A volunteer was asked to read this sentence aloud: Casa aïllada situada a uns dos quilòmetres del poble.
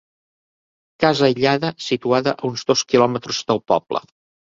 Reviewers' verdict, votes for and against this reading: accepted, 4, 0